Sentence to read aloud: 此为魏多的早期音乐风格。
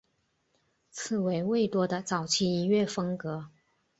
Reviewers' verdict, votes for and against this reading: accepted, 4, 0